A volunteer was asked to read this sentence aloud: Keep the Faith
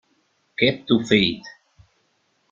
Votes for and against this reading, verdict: 0, 2, rejected